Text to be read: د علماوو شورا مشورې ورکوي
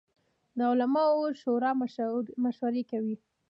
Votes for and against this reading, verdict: 0, 2, rejected